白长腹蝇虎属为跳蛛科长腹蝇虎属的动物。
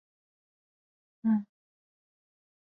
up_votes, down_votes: 0, 2